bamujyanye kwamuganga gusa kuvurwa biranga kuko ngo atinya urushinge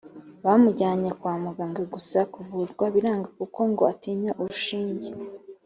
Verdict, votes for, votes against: accepted, 3, 0